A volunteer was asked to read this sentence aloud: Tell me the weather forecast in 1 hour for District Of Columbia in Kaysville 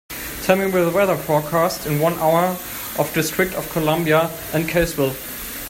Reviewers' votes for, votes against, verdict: 0, 2, rejected